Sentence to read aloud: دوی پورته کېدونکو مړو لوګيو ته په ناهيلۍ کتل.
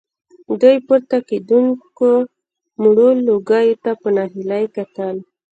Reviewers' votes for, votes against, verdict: 2, 1, accepted